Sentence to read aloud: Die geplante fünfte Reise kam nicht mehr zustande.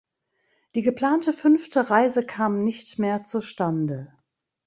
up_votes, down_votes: 2, 0